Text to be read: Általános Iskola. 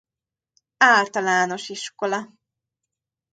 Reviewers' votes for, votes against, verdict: 2, 0, accepted